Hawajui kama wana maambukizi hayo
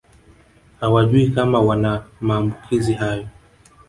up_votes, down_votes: 1, 2